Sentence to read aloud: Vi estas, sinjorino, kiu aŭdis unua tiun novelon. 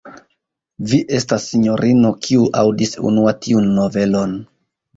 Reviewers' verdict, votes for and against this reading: accepted, 2, 0